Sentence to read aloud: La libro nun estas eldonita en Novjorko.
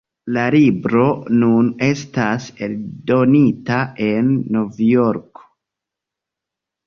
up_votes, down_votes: 0, 2